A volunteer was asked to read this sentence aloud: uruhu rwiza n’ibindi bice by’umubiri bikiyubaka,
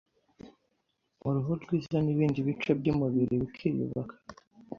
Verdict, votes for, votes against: accepted, 2, 0